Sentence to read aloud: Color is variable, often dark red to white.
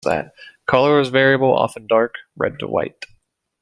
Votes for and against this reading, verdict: 1, 2, rejected